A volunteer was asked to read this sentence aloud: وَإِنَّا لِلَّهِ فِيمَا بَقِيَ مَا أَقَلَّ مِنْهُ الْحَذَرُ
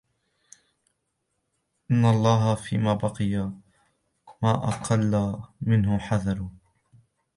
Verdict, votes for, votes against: accepted, 2, 1